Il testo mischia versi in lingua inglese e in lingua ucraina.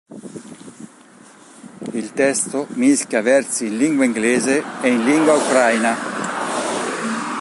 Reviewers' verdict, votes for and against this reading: rejected, 2, 4